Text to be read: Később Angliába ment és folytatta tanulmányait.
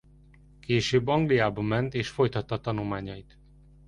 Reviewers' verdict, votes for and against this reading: accepted, 2, 0